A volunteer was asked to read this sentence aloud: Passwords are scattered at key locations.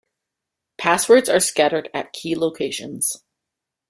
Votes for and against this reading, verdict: 2, 0, accepted